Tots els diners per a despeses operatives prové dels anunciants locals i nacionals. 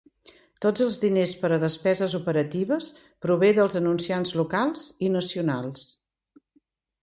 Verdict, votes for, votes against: accepted, 2, 0